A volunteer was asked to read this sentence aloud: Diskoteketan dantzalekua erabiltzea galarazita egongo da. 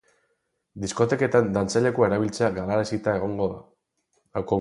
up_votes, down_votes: 0, 6